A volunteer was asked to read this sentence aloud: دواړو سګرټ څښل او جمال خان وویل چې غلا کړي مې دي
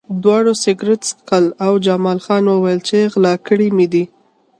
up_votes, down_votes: 3, 0